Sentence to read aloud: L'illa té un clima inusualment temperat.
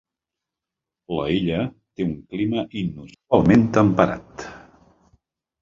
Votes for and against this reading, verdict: 0, 2, rejected